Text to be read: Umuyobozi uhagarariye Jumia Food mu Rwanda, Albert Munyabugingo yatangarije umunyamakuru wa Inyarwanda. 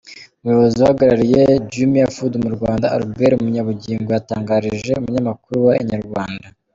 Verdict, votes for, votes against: accepted, 2, 0